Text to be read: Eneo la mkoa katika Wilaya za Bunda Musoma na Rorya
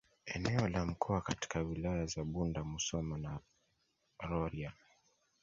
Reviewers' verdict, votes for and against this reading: accepted, 2, 0